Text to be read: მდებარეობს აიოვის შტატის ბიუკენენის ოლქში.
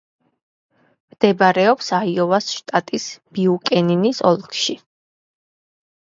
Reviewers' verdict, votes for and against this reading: rejected, 0, 2